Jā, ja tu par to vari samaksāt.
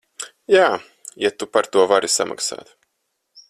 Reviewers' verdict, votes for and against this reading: accepted, 4, 0